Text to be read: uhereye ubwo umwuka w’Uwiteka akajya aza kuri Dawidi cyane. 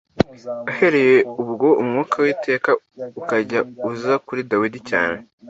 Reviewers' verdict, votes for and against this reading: accepted, 2, 0